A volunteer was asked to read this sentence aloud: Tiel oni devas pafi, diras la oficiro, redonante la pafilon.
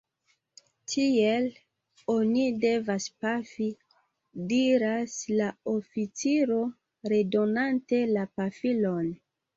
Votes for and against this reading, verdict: 2, 0, accepted